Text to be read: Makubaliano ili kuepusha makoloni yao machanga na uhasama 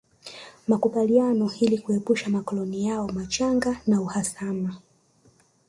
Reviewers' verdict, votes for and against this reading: accepted, 3, 0